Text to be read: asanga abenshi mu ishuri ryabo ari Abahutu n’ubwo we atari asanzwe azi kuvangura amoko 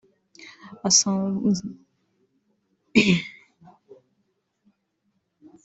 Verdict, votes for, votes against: rejected, 0, 2